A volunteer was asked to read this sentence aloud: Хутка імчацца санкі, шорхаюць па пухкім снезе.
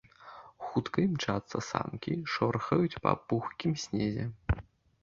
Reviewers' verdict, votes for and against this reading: accepted, 2, 0